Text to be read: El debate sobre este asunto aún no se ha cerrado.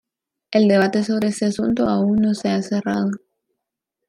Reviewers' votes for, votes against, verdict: 2, 0, accepted